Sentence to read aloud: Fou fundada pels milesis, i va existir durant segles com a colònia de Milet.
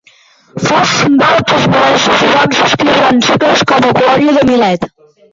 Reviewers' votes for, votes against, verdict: 0, 2, rejected